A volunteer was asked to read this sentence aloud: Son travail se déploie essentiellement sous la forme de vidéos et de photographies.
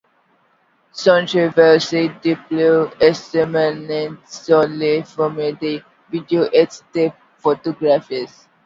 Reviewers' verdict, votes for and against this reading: rejected, 0, 2